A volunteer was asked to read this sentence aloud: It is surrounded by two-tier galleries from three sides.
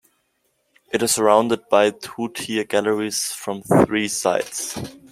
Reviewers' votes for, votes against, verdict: 2, 0, accepted